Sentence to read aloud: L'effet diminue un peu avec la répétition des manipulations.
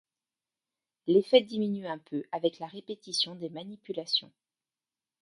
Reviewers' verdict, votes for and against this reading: accepted, 2, 1